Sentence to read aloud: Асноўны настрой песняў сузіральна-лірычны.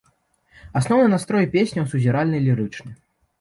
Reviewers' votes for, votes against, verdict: 2, 0, accepted